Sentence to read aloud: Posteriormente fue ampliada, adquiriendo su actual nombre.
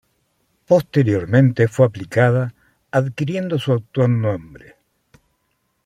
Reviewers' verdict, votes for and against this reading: rejected, 1, 2